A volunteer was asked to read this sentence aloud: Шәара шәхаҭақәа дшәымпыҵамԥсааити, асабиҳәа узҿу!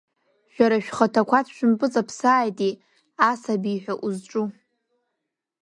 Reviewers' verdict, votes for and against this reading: accepted, 2, 0